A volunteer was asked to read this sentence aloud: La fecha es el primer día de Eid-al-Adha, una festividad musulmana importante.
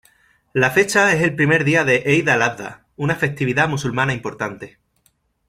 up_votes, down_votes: 0, 2